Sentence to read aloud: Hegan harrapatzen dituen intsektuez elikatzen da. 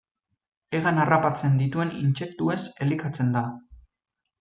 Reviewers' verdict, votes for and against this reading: accepted, 2, 0